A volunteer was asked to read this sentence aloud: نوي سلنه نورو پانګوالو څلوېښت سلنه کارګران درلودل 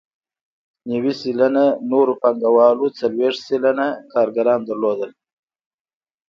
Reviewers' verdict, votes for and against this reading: accepted, 2, 0